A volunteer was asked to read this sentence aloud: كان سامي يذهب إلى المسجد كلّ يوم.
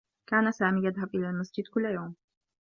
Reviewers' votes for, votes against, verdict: 2, 1, accepted